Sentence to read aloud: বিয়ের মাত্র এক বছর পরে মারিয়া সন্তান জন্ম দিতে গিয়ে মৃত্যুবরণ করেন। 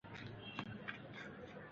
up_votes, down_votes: 0, 3